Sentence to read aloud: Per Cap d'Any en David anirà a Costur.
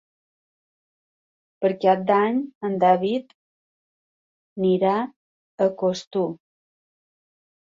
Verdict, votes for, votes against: rejected, 0, 2